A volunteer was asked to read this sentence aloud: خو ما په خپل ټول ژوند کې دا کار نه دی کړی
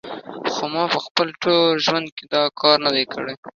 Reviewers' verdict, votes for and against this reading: accepted, 2, 1